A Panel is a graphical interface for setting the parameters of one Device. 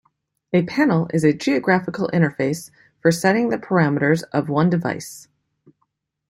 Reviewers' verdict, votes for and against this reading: rejected, 0, 3